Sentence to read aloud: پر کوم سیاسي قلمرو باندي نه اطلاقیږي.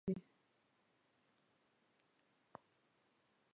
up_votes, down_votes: 0, 2